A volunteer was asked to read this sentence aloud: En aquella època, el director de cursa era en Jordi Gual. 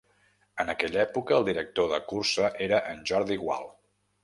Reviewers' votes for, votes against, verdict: 2, 0, accepted